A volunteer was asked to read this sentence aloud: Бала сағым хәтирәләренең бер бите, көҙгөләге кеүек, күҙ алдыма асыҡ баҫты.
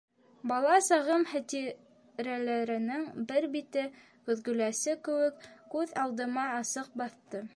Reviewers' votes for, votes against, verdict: 0, 2, rejected